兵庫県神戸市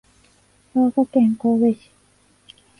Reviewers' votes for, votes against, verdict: 2, 1, accepted